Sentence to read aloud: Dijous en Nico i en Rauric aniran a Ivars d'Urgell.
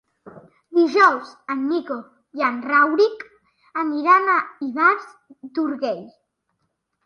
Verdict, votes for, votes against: rejected, 1, 2